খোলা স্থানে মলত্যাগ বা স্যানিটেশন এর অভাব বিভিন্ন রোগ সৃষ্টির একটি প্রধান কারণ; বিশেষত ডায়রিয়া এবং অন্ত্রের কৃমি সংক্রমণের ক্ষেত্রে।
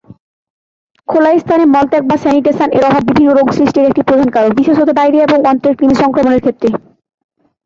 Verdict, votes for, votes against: rejected, 0, 2